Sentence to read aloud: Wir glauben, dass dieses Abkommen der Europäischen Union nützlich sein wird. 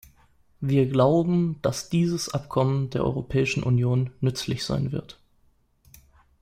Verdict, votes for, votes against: accepted, 2, 0